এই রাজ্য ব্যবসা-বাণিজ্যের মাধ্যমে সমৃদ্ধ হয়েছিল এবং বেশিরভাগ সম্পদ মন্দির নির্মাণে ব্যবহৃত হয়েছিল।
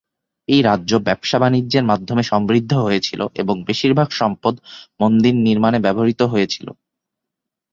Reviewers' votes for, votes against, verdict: 2, 0, accepted